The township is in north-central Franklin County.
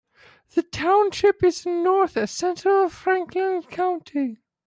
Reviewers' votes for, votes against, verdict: 2, 0, accepted